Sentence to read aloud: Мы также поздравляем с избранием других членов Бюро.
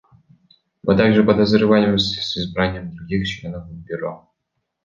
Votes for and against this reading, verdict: 1, 2, rejected